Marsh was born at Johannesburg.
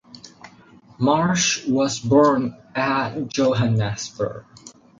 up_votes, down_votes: 0, 4